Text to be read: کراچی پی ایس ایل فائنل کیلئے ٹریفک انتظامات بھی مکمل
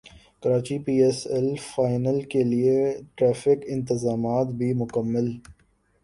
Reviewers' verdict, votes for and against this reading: accepted, 3, 0